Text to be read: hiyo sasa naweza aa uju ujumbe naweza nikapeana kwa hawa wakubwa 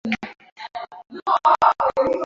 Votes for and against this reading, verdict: 0, 2, rejected